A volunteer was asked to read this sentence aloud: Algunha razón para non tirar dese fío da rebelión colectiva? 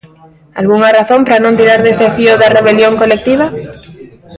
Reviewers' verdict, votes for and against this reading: rejected, 0, 2